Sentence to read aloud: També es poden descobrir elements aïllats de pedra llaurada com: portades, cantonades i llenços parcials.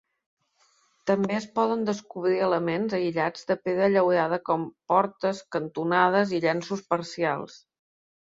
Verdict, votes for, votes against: rejected, 0, 2